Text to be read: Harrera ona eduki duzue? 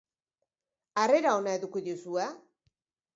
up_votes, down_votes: 4, 0